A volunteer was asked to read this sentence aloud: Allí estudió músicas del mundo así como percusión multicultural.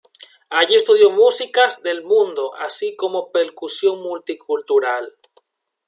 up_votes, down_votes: 2, 1